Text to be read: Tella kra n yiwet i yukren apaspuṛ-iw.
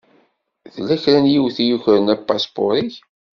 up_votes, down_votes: 1, 2